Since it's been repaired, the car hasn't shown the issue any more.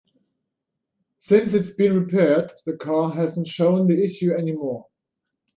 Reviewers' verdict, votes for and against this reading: rejected, 1, 2